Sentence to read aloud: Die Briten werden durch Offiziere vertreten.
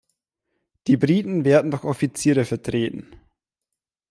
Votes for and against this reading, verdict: 1, 2, rejected